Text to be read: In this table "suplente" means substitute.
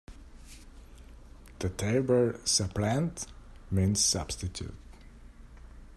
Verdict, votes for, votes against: rejected, 1, 2